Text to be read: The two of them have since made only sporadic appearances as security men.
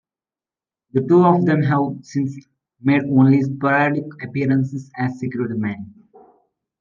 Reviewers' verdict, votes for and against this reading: rejected, 0, 2